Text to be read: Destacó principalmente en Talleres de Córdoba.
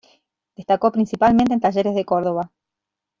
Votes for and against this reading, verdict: 3, 1, accepted